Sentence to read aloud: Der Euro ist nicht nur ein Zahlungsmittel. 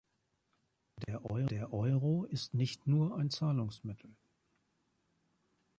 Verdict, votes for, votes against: rejected, 1, 2